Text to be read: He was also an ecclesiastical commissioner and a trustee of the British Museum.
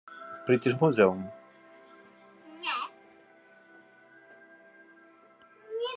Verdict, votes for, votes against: rejected, 0, 2